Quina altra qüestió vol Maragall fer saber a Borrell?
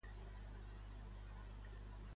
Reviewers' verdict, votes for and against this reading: rejected, 0, 2